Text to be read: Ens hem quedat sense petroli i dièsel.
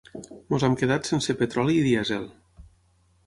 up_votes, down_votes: 3, 6